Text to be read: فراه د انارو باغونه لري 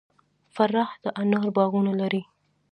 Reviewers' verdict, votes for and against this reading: accepted, 2, 0